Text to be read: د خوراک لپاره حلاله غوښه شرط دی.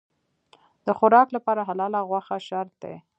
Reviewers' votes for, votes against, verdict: 2, 0, accepted